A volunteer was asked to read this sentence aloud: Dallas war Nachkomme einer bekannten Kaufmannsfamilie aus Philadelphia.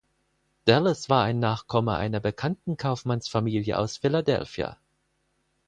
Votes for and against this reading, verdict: 2, 4, rejected